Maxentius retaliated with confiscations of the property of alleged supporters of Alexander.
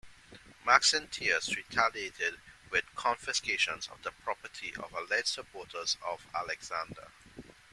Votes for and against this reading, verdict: 0, 2, rejected